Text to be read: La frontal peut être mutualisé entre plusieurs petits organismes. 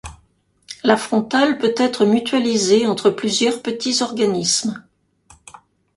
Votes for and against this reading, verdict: 2, 0, accepted